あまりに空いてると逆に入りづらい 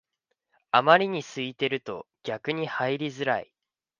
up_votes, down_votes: 3, 0